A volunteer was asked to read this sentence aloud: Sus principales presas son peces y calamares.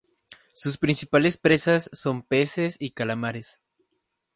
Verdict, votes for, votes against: rejected, 2, 2